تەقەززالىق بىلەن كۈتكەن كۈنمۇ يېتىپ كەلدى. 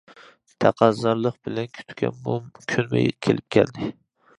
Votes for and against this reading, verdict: 0, 2, rejected